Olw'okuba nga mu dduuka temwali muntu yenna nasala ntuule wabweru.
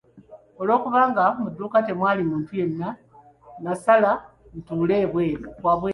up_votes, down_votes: 0, 2